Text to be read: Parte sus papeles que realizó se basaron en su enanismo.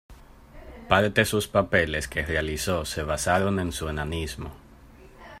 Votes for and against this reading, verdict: 1, 2, rejected